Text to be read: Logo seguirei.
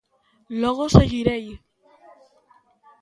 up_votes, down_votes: 2, 0